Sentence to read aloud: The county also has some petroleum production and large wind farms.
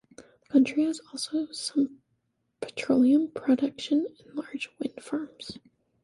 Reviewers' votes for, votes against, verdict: 0, 2, rejected